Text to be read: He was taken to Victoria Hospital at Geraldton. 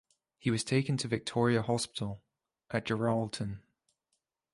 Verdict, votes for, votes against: accepted, 2, 0